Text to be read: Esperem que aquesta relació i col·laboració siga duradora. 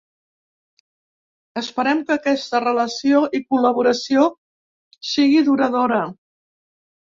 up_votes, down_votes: 1, 2